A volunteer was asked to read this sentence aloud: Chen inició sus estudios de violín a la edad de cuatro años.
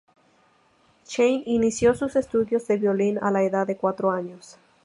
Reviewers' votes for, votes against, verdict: 2, 0, accepted